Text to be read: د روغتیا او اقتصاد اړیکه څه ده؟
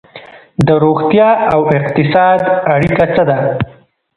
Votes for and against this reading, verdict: 1, 2, rejected